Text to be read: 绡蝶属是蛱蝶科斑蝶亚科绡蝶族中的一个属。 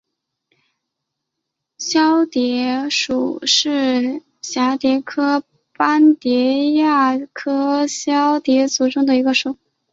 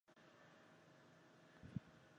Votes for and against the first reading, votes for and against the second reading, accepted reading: 6, 0, 0, 3, first